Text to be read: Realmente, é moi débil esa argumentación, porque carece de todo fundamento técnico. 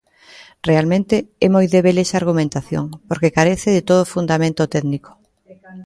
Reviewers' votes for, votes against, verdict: 2, 1, accepted